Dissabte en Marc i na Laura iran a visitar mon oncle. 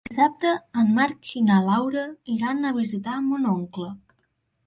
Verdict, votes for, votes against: rejected, 0, 2